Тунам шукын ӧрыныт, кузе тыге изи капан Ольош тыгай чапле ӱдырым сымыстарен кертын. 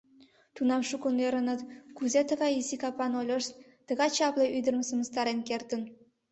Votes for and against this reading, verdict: 0, 2, rejected